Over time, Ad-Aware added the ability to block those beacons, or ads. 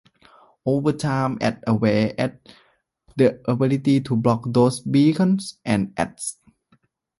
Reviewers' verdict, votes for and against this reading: rejected, 0, 2